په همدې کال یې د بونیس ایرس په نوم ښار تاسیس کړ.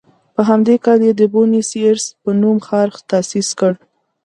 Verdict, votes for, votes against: accepted, 2, 0